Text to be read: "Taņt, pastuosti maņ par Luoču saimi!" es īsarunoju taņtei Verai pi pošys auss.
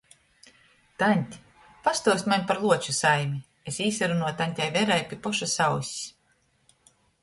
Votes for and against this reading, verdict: 2, 0, accepted